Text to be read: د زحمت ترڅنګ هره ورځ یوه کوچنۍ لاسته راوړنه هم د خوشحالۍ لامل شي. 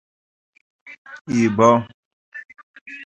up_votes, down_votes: 0, 2